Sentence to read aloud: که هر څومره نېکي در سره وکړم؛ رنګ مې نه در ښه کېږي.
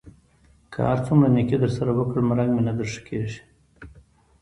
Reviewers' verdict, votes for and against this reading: accepted, 2, 0